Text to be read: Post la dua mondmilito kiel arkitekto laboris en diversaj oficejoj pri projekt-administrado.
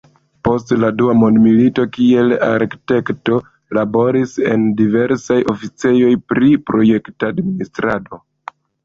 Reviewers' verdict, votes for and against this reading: accepted, 2, 0